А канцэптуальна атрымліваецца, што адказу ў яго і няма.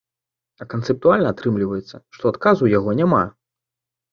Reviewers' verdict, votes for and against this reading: rejected, 1, 2